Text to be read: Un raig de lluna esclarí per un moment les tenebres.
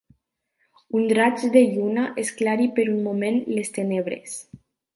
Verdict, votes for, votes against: rejected, 1, 2